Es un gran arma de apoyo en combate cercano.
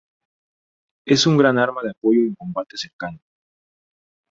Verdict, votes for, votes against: rejected, 2, 2